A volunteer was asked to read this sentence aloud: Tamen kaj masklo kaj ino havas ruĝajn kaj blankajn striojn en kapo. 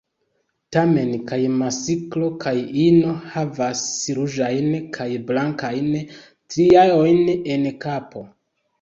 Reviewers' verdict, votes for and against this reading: accepted, 2, 0